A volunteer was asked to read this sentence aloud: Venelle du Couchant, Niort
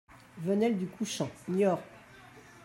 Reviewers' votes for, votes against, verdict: 1, 2, rejected